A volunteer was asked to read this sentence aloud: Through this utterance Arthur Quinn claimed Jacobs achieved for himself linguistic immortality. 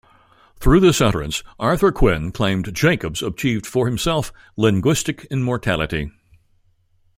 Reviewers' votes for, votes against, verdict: 2, 0, accepted